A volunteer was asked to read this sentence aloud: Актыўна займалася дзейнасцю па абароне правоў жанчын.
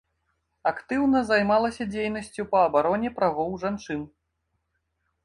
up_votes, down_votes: 2, 0